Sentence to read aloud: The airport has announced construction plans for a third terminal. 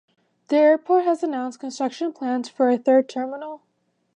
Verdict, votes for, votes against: rejected, 1, 2